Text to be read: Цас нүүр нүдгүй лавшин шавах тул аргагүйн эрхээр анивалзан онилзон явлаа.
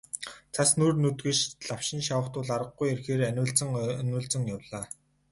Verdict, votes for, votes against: rejected, 2, 2